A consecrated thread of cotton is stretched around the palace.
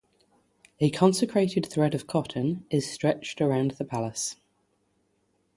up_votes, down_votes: 3, 0